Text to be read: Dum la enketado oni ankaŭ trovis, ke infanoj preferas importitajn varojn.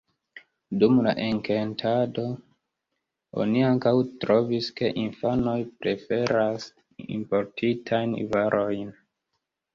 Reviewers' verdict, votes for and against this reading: rejected, 1, 2